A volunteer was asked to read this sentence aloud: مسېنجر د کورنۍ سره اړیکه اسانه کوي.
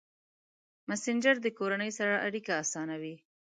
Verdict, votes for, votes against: rejected, 1, 2